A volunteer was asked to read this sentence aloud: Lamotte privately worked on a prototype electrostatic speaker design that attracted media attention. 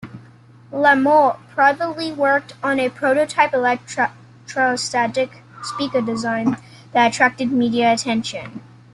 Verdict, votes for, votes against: rejected, 0, 2